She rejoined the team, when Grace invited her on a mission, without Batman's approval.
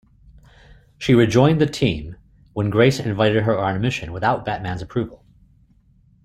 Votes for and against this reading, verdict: 2, 0, accepted